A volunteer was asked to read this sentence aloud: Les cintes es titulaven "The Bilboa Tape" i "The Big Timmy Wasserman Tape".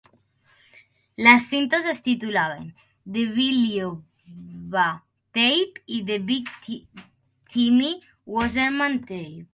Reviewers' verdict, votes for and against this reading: rejected, 0, 2